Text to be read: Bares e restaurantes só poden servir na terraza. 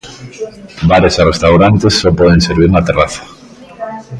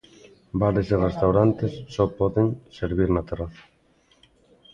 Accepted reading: first